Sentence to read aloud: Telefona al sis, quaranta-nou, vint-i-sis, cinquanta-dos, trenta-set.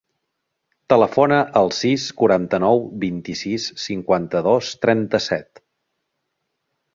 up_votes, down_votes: 3, 0